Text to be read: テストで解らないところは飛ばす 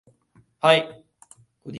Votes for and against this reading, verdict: 0, 3, rejected